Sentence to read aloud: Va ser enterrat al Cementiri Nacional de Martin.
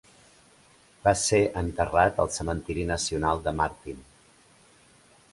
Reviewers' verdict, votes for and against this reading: rejected, 0, 2